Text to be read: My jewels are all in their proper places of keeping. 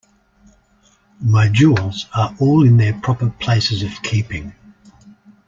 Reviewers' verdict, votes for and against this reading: accepted, 2, 1